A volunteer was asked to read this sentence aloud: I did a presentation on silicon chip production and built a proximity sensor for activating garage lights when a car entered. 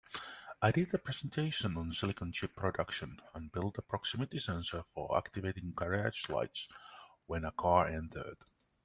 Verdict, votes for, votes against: accepted, 2, 1